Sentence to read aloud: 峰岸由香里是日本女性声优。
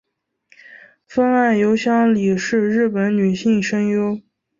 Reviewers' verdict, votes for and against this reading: accepted, 2, 0